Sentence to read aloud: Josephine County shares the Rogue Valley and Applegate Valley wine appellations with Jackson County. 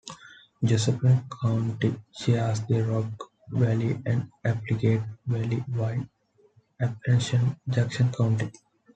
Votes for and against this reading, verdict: 0, 2, rejected